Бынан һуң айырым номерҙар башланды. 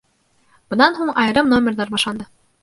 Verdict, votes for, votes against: rejected, 0, 2